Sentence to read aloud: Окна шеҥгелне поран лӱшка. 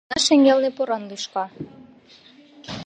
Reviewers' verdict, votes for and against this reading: rejected, 1, 2